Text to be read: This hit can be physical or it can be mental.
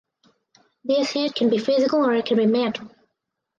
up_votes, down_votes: 4, 0